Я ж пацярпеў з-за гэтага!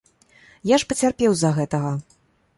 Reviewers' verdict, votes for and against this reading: accepted, 2, 0